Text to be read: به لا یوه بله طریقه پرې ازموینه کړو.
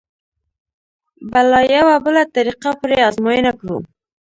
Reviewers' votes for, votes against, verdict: 1, 2, rejected